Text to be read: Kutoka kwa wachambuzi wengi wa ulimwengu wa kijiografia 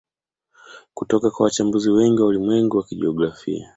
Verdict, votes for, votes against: rejected, 1, 2